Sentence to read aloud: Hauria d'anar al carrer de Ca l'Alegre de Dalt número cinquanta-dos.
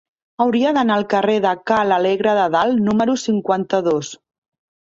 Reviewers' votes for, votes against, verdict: 3, 0, accepted